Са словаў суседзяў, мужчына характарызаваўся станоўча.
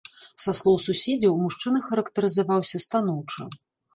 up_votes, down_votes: 1, 2